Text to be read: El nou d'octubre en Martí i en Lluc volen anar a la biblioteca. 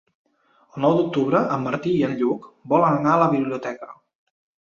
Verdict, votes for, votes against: accepted, 3, 0